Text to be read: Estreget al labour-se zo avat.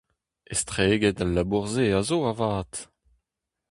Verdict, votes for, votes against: rejected, 0, 2